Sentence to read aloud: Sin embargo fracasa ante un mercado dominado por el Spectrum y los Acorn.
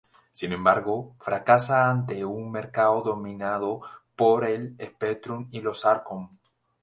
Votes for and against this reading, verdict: 4, 0, accepted